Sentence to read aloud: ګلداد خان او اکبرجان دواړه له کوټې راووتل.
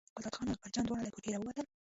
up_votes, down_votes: 0, 2